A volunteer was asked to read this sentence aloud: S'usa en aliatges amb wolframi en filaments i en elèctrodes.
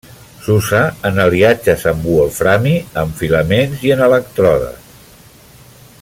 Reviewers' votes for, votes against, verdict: 1, 2, rejected